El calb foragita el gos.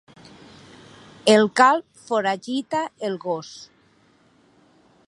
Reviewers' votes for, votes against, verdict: 2, 0, accepted